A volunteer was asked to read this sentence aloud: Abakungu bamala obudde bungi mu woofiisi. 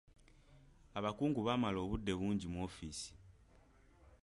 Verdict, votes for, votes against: accepted, 2, 0